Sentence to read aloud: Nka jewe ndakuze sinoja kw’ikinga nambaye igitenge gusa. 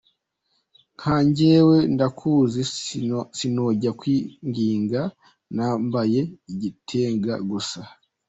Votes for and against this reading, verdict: 0, 2, rejected